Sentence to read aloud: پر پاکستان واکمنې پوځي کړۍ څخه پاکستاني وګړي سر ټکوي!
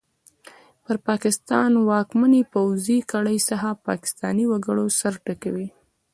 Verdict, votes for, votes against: accepted, 2, 0